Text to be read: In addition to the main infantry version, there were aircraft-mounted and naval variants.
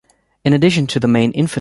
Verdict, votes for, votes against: rejected, 0, 2